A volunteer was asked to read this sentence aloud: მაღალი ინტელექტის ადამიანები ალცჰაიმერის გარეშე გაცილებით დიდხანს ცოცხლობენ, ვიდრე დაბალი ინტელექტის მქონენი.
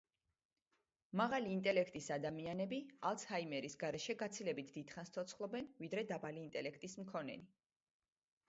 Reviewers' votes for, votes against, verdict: 0, 2, rejected